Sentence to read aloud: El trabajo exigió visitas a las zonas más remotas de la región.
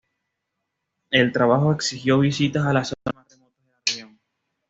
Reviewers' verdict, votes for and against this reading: rejected, 1, 2